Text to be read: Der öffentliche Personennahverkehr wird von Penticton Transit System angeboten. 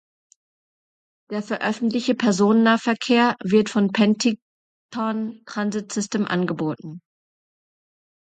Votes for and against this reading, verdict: 0, 2, rejected